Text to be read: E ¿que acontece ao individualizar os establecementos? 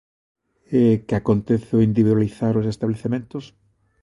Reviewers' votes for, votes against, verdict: 2, 0, accepted